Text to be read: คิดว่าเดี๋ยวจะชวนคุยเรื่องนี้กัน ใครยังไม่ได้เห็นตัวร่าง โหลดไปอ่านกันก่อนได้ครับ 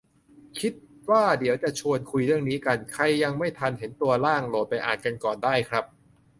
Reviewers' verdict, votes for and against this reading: rejected, 0, 2